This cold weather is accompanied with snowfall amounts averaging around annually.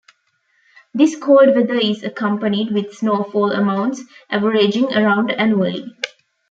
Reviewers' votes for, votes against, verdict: 1, 2, rejected